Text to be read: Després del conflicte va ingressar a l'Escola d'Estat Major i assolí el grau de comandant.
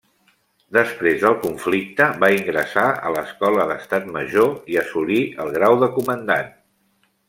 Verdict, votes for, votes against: accepted, 2, 0